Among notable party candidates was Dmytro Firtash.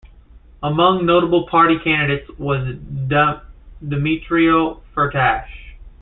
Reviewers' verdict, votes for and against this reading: rejected, 0, 2